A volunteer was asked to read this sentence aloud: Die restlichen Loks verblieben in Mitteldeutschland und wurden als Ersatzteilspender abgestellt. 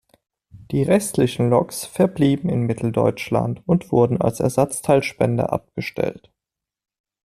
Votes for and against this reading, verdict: 2, 0, accepted